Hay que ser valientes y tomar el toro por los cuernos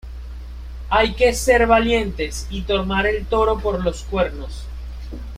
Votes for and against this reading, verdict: 2, 0, accepted